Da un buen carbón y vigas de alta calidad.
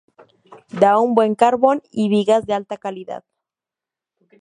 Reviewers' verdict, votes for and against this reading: rejected, 0, 2